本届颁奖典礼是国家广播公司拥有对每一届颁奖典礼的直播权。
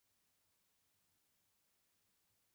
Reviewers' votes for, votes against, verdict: 3, 4, rejected